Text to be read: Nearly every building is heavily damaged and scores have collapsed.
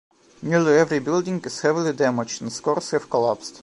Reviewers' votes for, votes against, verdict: 1, 2, rejected